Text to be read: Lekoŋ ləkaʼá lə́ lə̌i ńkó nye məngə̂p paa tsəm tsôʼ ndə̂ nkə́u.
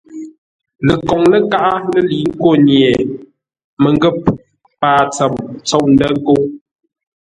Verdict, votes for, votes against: accepted, 2, 0